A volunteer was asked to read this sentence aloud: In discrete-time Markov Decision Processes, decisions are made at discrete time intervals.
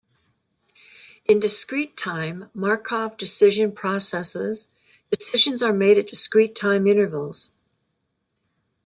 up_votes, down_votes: 2, 0